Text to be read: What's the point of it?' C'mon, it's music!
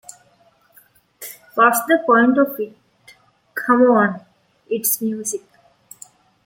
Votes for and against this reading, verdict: 2, 0, accepted